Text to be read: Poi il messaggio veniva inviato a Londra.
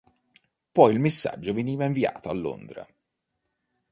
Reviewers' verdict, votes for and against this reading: accepted, 3, 0